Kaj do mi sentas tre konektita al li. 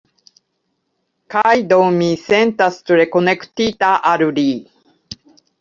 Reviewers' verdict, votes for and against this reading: accepted, 2, 0